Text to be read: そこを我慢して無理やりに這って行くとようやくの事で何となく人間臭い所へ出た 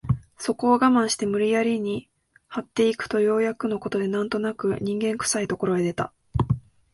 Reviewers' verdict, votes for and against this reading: accepted, 2, 0